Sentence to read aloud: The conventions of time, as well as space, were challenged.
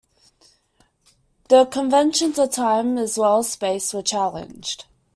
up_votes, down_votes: 2, 0